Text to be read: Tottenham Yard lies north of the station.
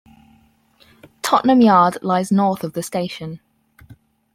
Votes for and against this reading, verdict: 4, 0, accepted